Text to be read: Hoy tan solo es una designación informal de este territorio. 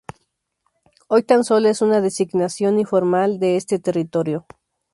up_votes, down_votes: 0, 2